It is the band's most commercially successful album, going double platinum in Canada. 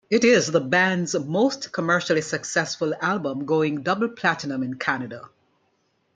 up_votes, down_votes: 1, 2